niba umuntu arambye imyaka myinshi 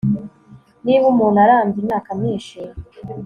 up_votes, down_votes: 2, 0